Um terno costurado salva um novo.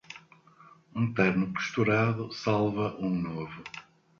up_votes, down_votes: 2, 0